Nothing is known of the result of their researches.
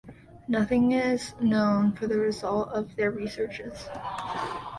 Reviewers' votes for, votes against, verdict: 0, 2, rejected